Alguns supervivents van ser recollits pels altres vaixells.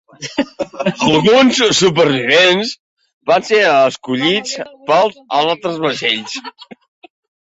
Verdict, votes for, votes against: rejected, 0, 2